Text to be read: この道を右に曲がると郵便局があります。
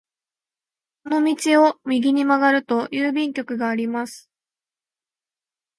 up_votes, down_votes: 2, 0